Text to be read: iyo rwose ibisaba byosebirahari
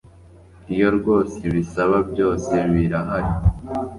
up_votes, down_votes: 4, 0